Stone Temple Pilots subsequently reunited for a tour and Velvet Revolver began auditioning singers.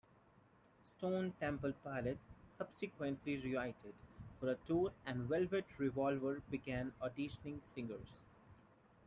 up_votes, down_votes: 2, 1